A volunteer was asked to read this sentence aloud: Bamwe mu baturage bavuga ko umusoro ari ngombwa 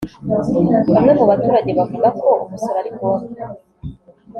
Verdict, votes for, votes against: accepted, 2, 0